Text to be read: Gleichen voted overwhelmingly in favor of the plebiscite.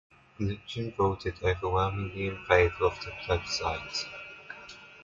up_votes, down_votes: 0, 2